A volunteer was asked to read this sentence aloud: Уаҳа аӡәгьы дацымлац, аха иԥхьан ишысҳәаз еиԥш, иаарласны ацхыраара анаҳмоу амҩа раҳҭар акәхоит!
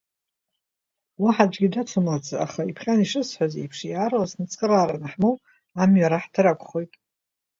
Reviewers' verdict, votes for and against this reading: rejected, 1, 2